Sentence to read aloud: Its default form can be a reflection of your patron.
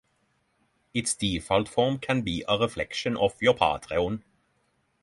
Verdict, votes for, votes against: rejected, 3, 6